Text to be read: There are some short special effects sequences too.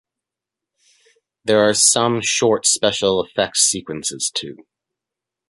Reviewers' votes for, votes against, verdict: 2, 1, accepted